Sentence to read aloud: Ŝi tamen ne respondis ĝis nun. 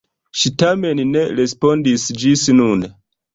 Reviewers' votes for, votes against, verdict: 2, 0, accepted